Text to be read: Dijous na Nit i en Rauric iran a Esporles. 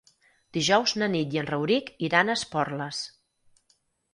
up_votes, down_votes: 6, 0